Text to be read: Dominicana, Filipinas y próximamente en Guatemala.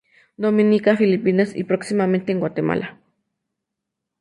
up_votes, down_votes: 2, 2